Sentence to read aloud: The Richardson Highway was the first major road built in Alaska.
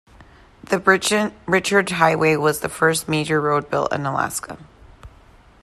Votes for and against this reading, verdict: 0, 2, rejected